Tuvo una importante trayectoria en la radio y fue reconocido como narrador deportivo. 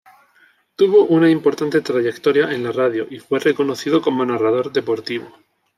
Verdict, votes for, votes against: accepted, 2, 0